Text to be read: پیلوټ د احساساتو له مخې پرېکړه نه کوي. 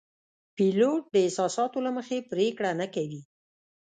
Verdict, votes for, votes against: accepted, 2, 0